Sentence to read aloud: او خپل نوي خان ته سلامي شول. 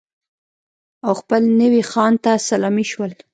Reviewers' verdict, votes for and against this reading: rejected, 1, 2